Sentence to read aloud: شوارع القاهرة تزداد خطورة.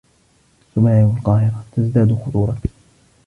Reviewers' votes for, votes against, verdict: 1, 2, rejected